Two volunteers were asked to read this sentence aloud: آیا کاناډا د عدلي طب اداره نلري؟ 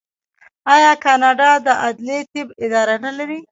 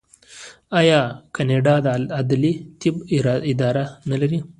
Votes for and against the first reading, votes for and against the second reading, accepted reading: 2, 0, 1, 2, first